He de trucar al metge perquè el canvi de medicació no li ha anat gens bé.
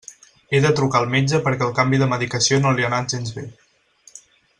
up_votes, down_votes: 4, 0